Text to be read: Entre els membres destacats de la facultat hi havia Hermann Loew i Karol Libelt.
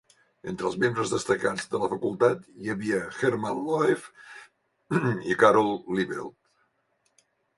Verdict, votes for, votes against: rejected, 1, 2